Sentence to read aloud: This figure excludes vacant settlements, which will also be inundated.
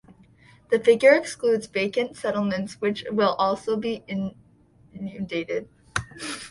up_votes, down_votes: 0, 2